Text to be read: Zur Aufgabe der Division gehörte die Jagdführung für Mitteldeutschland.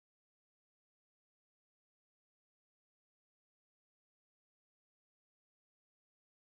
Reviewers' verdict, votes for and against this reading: rejected, 0, 4